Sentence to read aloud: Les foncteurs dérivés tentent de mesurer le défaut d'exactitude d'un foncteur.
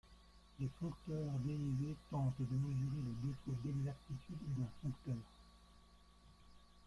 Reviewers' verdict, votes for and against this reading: rejected, 0, 2